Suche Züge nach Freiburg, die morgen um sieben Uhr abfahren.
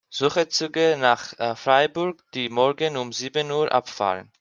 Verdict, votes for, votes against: rejected, 1, 2